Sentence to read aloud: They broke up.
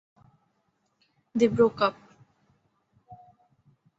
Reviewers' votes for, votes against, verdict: 2, 0, accepted